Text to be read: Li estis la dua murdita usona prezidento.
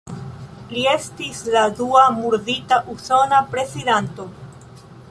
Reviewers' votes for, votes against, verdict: 1, 3, rejected